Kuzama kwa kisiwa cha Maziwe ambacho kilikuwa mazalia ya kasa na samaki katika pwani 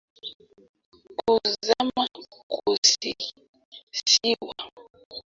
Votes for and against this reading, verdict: 0, 2, rejected